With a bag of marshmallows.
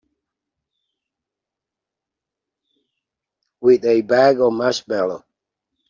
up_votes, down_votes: 1, 2